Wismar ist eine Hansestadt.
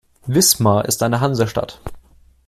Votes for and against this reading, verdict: 2, 0, accepted